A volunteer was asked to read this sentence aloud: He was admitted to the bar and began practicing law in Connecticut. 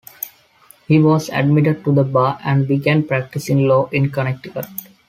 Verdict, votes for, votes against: accepted, 2, 0